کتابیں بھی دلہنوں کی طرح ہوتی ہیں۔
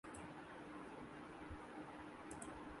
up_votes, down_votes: 0, 2